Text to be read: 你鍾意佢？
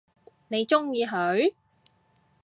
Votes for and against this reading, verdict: 2, 0, accepted